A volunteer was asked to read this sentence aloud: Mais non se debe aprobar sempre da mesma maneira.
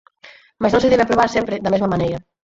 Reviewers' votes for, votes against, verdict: 0, 4, rejected